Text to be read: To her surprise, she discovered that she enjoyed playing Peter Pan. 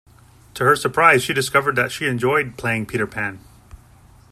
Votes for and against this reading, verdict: 2, 0, accepted